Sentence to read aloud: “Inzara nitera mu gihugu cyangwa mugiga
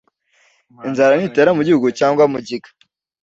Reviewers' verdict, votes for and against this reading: accepted, 2, 0